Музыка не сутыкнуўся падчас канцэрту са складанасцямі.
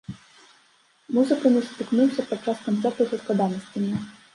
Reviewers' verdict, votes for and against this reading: rejected, 1, 2